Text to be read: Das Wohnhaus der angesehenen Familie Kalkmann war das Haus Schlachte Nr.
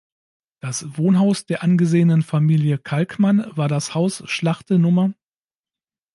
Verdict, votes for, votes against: accepted, 2, 0